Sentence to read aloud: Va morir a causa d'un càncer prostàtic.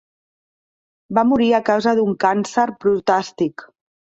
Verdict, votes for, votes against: rejected, 0, 2